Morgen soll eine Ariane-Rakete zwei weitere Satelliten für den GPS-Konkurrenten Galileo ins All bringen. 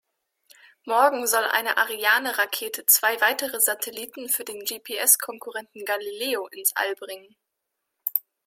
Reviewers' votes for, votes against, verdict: 4, 0, accepted